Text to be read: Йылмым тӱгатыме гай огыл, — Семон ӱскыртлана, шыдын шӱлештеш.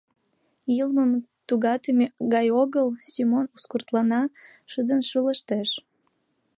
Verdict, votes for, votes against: rejected, 1, 2